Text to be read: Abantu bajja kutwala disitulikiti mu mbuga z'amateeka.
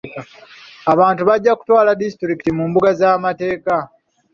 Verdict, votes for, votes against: accepted, 3, 0